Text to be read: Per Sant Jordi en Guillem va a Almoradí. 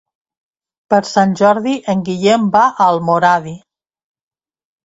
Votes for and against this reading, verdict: 2, 0, accepted